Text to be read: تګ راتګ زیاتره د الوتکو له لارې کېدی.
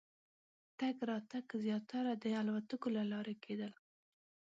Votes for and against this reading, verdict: 1, 2, rejected